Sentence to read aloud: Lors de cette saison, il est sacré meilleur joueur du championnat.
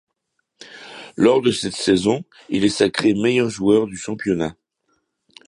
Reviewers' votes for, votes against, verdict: 2, 0, accepted